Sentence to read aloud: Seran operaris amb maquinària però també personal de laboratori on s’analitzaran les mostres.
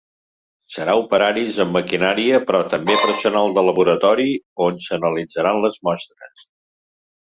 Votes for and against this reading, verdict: 2, 3, rejected